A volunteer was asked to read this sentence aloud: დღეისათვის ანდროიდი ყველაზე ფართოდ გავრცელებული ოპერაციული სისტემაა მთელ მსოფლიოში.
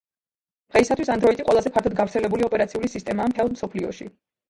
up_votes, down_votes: 0, 2